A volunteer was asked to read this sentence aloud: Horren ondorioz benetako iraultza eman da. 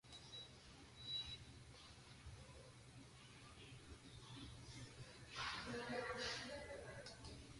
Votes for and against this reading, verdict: 0, 2, rejected